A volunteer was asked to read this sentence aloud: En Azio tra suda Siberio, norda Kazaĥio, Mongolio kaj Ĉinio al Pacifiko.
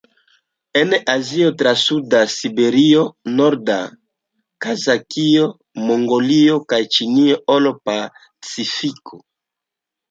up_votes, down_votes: 0, 2